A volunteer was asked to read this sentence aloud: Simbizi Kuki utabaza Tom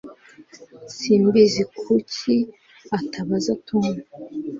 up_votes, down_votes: 1, 2